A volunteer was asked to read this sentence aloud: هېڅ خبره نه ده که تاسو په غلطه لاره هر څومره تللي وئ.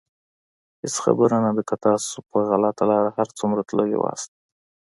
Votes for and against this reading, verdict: 2, 0, accepted